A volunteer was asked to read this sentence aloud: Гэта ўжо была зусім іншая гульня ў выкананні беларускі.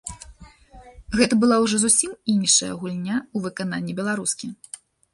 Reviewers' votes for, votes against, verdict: 1, 2, rejected